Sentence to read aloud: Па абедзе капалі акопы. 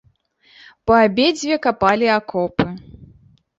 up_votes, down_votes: 0, 2